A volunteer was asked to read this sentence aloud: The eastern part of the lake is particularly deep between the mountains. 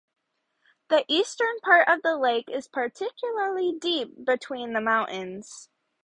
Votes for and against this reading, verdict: 0, 2, rejected